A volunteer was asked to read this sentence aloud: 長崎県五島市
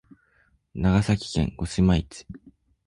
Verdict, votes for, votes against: accepted, 2, 0